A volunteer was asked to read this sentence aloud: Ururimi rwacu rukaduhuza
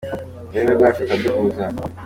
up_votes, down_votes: 2, 0